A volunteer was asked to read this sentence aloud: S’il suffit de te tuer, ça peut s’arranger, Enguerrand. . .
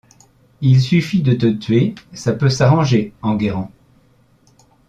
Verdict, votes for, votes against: rejected, 0, 2